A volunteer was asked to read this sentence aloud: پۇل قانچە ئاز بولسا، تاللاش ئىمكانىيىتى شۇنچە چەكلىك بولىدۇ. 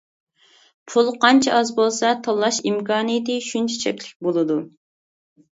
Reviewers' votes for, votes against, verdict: 2, 0, accepted